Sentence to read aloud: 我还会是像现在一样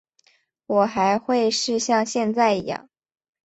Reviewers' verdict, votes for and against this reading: accepted, 2, 0